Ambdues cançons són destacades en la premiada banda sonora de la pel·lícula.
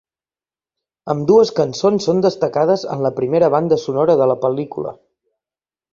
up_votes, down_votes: 0, 2